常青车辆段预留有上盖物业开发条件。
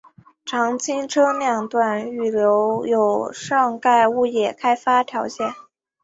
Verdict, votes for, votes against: accepted, 3, 0